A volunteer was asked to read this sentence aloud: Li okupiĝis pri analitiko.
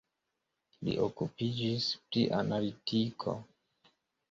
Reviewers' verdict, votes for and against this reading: rejected, 1, 2